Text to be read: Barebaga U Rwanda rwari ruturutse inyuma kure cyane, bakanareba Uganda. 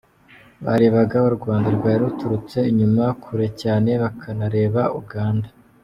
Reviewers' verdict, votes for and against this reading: accepted, 2, 0